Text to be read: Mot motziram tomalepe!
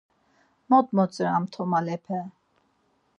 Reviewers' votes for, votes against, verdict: 4, 0, accepted